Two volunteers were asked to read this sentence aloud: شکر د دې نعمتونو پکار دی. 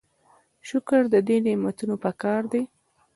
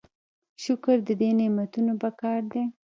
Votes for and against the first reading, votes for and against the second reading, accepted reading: 2, 0, 1, 2, first